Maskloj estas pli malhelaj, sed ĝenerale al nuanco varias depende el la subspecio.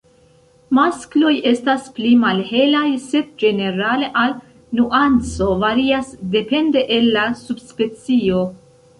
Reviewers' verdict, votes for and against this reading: accepted, 2, 0